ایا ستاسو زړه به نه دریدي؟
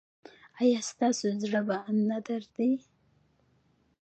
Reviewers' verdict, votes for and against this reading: rejected, 1, 2